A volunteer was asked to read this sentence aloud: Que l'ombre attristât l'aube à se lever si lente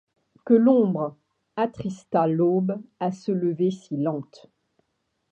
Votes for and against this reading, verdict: 2, 0, accepted